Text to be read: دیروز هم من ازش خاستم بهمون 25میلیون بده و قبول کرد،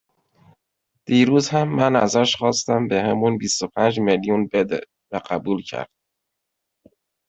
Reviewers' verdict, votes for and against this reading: rejected, 0, 2